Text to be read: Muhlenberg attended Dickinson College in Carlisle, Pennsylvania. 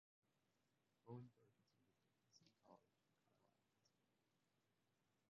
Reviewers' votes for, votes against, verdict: 0, 2, rejected